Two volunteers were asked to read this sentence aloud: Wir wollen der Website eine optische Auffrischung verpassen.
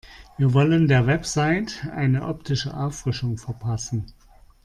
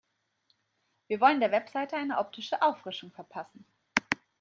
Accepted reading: first